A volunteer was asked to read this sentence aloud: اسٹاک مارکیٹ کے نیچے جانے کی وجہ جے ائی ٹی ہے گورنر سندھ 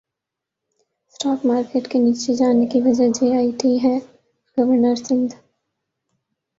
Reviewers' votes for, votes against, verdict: 2, 0, accepted